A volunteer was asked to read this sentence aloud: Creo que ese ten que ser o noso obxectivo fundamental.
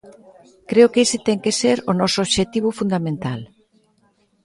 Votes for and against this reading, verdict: 2, 0, accepted